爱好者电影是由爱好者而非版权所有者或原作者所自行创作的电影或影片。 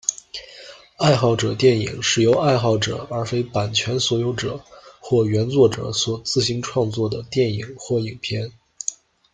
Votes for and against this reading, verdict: 2, 0, accepted